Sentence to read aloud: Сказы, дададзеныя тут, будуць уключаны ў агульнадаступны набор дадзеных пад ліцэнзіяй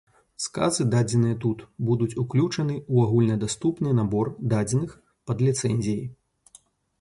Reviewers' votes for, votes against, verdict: 1, 2, rejected